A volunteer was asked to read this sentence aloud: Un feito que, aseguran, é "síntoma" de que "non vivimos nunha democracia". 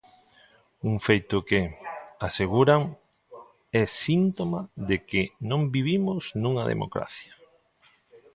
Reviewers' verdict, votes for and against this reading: rejected, 1, 2